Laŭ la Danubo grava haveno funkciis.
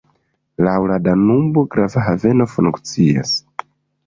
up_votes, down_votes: 2, 0